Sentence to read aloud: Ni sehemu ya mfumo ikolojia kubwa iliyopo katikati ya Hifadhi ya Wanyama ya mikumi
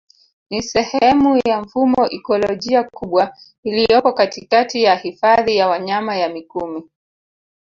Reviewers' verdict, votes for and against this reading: accepted, 4, 0